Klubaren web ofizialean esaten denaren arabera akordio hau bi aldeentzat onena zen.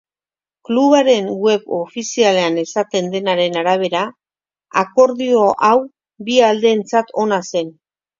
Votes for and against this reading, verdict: 1, 2, rejected